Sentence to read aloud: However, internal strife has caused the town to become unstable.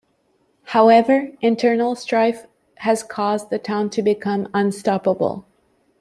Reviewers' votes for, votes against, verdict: 0, 2, rejected